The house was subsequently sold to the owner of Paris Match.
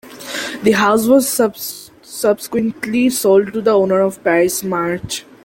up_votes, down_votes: 0, 2